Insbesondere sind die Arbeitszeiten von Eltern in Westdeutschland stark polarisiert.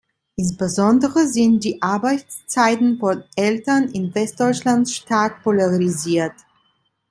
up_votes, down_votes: 2, 0